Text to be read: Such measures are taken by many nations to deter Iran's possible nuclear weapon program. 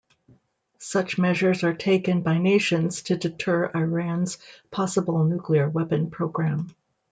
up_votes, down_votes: 0, 2